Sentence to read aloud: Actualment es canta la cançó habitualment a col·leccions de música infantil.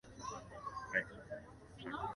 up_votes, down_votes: 0, 2